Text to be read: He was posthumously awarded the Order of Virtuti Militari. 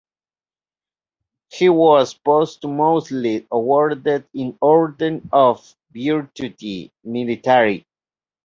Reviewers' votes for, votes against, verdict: 0, 2, rejected